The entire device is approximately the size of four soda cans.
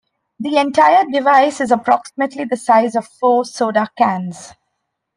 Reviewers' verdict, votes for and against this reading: accepted, 2, 0